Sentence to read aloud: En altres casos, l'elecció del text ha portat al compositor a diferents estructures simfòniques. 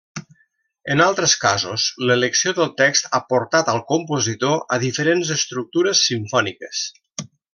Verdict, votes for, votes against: accepted, 2, 0